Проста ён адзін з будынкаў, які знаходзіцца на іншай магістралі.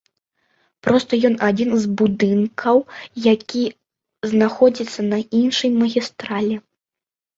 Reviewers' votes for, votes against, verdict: 2, 0, accepted